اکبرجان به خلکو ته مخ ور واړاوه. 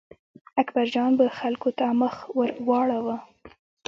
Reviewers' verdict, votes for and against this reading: accepted, 2, 0